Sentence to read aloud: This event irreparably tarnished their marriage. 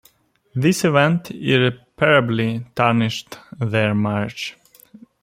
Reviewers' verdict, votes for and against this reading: rejected, 0, 2